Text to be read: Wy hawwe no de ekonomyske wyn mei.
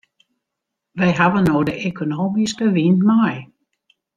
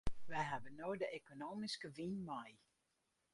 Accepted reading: first